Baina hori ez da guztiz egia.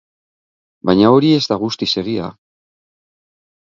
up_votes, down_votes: 6, 0